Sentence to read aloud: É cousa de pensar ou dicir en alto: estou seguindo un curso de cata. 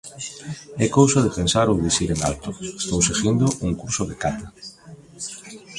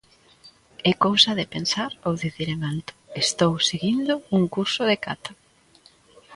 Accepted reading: second